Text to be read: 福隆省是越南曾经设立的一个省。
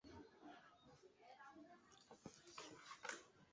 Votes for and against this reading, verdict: 0, 2, rejected